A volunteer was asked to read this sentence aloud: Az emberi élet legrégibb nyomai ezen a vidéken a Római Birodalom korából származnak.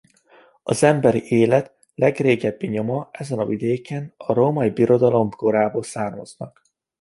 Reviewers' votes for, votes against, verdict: 0, 2, rejected